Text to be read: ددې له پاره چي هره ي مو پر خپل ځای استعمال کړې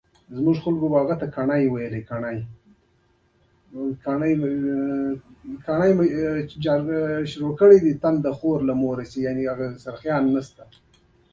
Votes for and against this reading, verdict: 1, 2, rejected